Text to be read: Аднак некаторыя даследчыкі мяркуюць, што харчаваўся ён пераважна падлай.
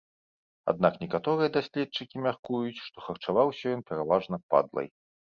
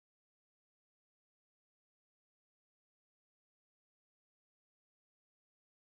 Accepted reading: first